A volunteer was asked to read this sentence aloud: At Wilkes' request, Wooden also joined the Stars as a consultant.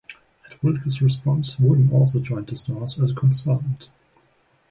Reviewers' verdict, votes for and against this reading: rejected, 0, 2